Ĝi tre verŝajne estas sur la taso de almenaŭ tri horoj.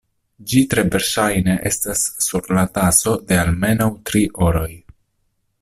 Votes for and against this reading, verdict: 2, 1, accepted